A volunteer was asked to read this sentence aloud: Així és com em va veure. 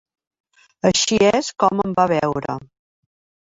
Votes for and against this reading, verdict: 3, 0, accepted